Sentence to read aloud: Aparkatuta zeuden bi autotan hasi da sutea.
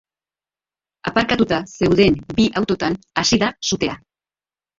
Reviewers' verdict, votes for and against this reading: rejected, 1, 2